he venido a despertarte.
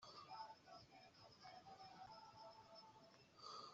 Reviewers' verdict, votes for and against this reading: rejected, 0, 2